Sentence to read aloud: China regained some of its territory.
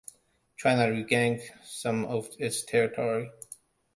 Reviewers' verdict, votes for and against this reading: accepted, 2, 1